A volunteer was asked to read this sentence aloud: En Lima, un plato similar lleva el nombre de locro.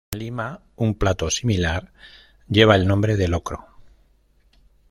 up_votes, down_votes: 1, 2